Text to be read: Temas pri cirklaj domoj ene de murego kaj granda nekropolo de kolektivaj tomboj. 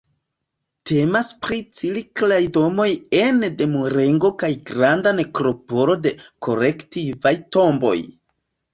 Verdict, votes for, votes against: rejected, 1, 2